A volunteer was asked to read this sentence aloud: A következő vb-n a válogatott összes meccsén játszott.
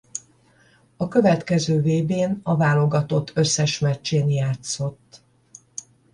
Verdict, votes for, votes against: accepted, 10, 0